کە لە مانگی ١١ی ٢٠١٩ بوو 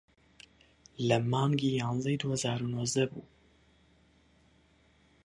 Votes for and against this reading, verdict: 0, 2, rejected